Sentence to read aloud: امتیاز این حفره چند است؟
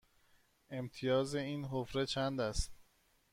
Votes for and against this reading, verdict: 2, 0, accepted